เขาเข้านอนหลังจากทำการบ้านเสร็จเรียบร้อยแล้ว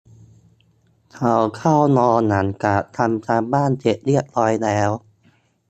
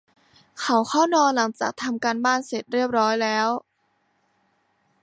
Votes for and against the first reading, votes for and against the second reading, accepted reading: 1, 2, 2, 0, second